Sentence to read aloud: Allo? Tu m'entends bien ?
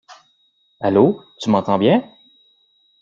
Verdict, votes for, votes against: accepted, 2, 0